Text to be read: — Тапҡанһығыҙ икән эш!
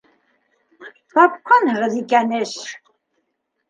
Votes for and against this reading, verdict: 2, 0, accepted